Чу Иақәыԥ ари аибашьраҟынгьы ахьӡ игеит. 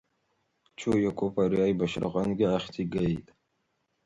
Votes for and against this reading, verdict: 1, 2, rejected